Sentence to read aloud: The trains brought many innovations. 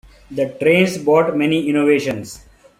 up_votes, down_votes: 2, 1